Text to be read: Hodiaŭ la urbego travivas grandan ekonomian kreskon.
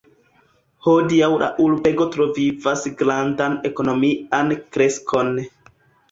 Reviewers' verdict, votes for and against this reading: accepted, 2, 1